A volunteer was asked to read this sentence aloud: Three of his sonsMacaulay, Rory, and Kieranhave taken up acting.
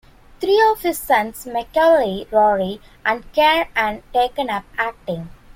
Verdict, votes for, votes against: rejected, 1, 2